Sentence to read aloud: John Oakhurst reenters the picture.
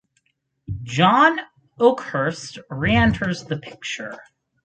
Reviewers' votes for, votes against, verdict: 4, 0, accepted